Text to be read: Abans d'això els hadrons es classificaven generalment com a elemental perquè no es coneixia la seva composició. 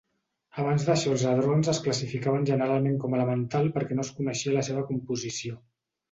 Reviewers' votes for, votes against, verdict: 2, 0, accepted